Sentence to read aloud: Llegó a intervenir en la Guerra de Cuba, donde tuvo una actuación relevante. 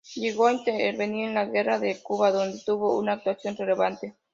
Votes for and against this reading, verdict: 2, 0, accepted